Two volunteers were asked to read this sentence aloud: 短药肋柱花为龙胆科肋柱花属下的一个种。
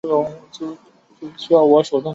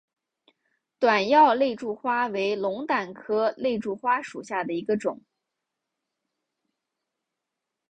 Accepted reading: second